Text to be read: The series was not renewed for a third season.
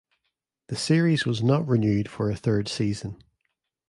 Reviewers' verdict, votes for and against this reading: accepted, 2, 0